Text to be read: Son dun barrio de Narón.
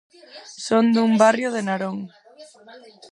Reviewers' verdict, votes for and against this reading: rejected, 2, 4